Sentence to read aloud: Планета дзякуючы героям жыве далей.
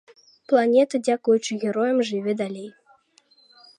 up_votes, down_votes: 2, 0